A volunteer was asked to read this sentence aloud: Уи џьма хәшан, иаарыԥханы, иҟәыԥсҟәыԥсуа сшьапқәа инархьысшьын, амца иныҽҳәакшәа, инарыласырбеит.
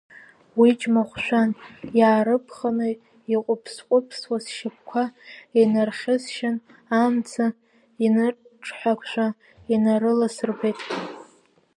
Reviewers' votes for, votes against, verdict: 0, 2, rejected